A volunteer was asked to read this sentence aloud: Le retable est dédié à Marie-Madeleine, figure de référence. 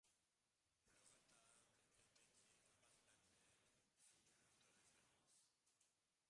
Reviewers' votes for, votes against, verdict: 0, 2, rejected